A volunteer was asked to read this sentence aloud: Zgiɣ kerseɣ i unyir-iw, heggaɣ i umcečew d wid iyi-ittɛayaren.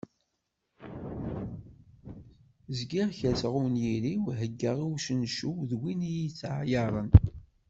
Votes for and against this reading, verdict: 3, 1, accepted